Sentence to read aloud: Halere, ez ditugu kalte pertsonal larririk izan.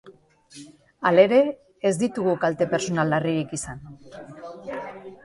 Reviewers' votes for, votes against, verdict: 2, 0, accepted